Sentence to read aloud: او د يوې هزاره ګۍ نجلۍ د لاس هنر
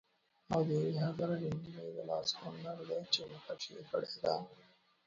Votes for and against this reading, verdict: 0, 2, rejected